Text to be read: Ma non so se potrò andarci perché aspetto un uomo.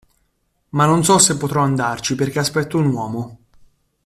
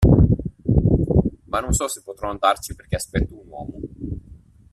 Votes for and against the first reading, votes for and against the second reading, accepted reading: 2, 0, 1, 2, first